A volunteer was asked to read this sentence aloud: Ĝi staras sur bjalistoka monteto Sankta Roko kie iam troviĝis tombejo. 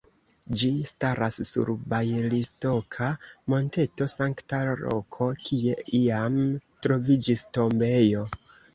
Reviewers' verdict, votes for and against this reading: rejected, 1, 2